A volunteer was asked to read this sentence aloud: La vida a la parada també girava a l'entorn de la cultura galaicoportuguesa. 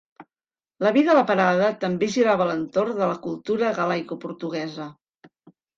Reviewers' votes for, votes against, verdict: 2, 0, accepted